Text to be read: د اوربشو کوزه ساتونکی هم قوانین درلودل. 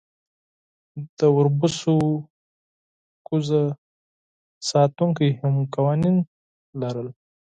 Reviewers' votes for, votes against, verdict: 0, 4, rejected